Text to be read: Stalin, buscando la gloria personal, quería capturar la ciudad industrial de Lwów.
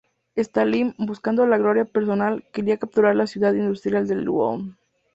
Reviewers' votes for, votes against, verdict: 2, 0, accepted